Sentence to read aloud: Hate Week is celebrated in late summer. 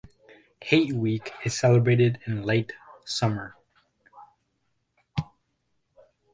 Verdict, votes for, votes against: accepted, 2, 1